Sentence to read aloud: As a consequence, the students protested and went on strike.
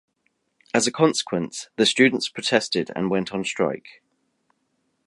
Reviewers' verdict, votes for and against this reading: accepted, 2, 0